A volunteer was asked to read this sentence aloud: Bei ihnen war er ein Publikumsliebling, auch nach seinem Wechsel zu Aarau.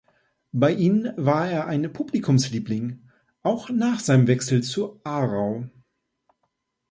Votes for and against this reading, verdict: 1, 2, rejected